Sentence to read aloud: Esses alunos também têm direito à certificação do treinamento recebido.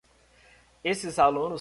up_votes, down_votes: 0, 2